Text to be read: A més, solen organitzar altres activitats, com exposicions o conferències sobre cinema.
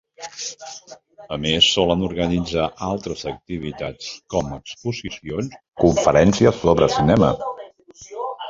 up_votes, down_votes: 2, 1